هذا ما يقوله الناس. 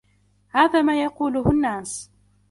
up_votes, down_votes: 2, 0